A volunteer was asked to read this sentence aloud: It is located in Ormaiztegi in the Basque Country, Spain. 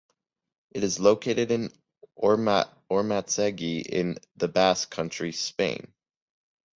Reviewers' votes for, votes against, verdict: 0, 2, rejected